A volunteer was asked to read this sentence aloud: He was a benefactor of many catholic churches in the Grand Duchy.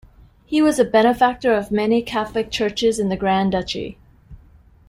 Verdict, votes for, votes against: accepted, 2, 0